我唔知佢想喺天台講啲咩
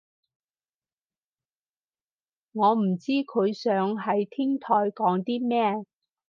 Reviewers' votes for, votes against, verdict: 4, 0, accepted